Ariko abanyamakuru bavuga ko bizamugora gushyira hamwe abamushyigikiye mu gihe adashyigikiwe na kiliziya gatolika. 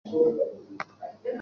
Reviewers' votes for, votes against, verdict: 0, 2, rejected